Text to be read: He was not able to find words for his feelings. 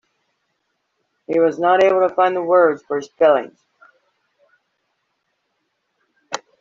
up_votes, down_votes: 1, 2